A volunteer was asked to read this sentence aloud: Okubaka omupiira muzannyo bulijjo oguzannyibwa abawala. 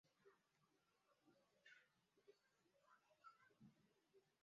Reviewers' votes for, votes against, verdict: 0, 2, rejected